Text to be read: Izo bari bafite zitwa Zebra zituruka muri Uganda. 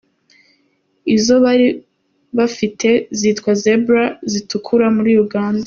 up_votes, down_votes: 3, 0